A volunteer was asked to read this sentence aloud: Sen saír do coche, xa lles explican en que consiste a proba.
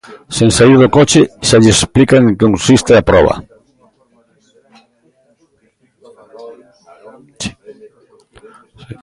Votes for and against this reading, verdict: 0, 2, rejected